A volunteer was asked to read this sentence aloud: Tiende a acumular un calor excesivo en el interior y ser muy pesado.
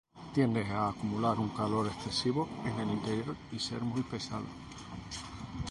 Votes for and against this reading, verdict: 0, 2, rejected